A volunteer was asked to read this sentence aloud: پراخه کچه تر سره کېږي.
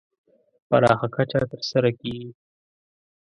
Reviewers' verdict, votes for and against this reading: accepted, 2, 0